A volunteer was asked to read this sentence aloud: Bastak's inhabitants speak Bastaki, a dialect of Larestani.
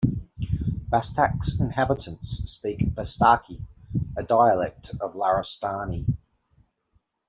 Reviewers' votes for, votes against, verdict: 2, 0, accepted